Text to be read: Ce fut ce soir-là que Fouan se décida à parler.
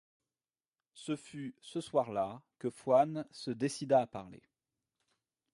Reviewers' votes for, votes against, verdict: 1, 2, rejected